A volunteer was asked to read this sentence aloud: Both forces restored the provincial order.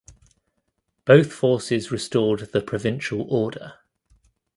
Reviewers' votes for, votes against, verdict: 2, 0, accepted